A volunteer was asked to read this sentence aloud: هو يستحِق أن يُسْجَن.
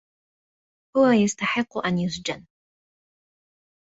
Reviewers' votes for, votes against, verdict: 1, 2, rejected